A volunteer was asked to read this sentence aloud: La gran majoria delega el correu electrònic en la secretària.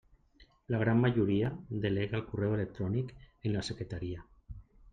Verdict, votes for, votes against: rejected, 0, 2